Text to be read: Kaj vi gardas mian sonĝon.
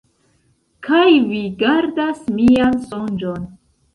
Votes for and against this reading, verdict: 2, 0, accepted